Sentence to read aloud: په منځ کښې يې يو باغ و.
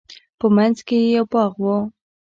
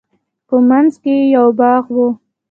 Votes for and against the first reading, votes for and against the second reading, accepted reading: 2, 1, 1, 2, first